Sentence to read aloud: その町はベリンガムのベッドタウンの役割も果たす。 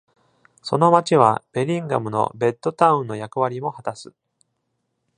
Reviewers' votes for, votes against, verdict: 2, 0, accepted